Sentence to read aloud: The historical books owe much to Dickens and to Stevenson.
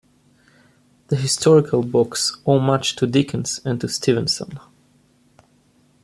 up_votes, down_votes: 2, 0